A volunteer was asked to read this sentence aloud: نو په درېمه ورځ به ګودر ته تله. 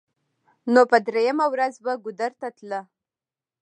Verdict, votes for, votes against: rejected, 0, 2